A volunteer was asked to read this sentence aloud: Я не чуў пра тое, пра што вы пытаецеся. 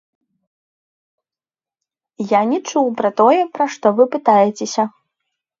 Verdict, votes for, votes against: rejected, 1, 2